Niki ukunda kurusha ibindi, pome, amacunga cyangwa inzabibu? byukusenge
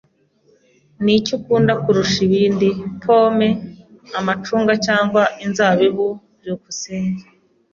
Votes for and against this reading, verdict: 2, 0, accepted